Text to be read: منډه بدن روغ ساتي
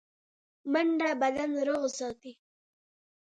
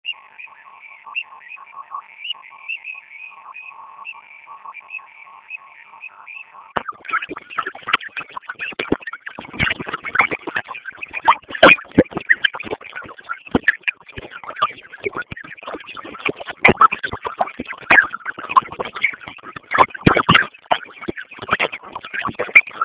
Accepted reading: first